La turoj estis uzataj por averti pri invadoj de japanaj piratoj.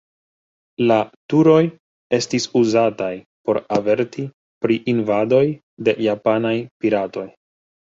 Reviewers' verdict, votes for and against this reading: rejected, 0, 2